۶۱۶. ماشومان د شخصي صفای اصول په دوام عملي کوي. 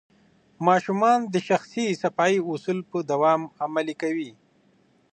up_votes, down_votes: 0, 2